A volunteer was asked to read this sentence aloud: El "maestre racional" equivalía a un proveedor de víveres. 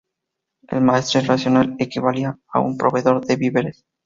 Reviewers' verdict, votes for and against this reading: rejected, 0, 2